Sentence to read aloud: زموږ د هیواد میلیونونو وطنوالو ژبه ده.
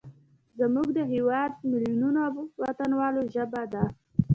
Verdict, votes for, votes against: rejected, 0, 2